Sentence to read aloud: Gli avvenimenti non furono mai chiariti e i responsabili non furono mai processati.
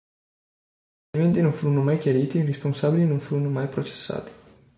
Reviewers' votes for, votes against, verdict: 2, 4, rejected